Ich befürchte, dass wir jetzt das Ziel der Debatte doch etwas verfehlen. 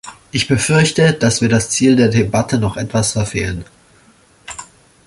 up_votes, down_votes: 0, 2